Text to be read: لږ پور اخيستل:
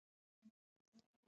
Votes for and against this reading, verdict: 1, 2, rejected